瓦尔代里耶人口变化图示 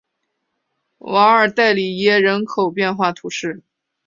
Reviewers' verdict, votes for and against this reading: accepted, 2, 0